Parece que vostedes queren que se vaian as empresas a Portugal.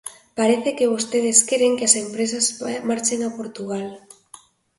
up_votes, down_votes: 0, 2